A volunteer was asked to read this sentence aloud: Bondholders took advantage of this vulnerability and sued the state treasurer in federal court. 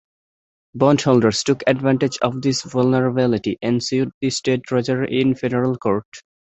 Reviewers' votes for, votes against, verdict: 2, 1, accepted